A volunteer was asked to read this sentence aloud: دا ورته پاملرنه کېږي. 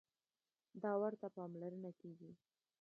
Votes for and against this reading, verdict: 1, 2, rejected